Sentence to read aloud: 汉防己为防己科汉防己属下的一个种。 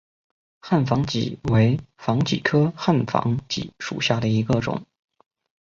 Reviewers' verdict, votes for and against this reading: accepted, 2, 0